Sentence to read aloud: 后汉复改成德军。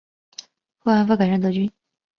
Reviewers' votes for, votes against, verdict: 2, 4, rejected